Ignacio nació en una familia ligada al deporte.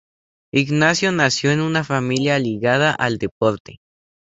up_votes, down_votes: 4, 0